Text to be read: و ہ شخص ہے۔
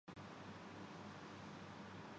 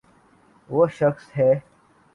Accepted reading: second